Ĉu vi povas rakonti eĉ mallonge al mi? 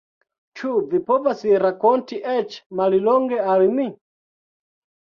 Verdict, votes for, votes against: accepted, 2, 1